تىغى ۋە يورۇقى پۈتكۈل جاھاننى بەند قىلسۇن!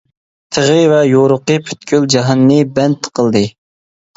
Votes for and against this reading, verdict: 0, 2, rejected